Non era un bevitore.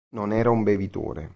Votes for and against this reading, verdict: 3, 0, accepted